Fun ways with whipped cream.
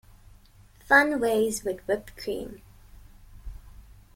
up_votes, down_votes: 2, 0